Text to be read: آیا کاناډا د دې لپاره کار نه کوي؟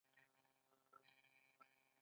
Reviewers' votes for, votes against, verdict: 1, 2, rejected